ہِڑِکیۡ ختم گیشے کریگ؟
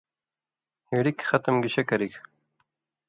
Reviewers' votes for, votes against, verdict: 2, 0, accepted